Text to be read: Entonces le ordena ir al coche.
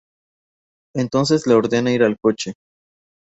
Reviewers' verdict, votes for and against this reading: accepted, 2, 0